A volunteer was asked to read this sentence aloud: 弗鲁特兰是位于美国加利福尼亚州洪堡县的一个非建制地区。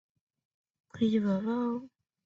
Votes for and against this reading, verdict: 0, 3, rejected